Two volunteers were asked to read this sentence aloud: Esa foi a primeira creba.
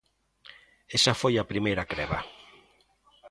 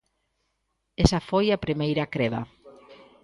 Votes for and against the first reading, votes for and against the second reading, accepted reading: 2, 0, 0, 2, first